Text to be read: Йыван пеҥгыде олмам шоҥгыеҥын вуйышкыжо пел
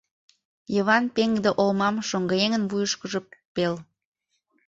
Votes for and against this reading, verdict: 2, 3, rejected